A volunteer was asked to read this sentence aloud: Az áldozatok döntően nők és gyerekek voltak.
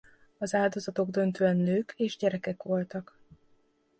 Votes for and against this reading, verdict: 2, 0, accepted